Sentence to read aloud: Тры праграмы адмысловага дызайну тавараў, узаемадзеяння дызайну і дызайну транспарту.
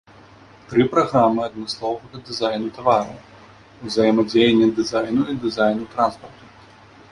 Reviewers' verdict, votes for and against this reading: accepted, 2, 0